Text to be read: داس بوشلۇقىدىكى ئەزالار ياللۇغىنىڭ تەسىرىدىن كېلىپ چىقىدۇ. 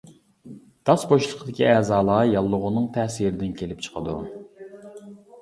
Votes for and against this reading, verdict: 2, 0, accepted